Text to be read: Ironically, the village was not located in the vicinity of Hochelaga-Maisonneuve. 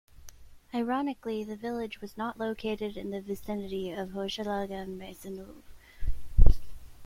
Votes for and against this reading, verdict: 0, 2, rejected